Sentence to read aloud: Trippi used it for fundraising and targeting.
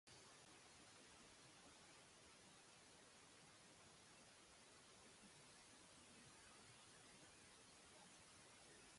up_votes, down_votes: 0, 2